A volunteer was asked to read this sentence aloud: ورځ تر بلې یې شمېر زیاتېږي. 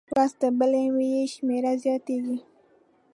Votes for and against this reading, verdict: 1, 2, rejected